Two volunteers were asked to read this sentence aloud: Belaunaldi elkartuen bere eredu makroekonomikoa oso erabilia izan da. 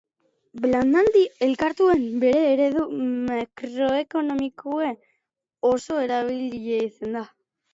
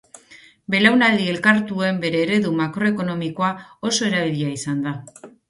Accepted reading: second